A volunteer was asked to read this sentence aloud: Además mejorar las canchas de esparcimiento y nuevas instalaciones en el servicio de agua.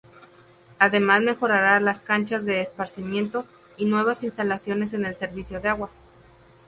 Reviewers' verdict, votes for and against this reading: accepted, 2, 0